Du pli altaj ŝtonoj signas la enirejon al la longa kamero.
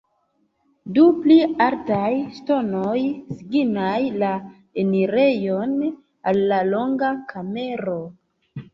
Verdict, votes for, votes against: rejected, 0, 2